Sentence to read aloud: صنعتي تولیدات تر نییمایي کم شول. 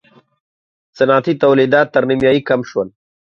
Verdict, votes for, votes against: accepted, 2, 0